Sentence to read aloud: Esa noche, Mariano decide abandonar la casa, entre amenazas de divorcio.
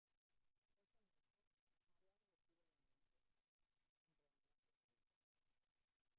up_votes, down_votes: 0, 2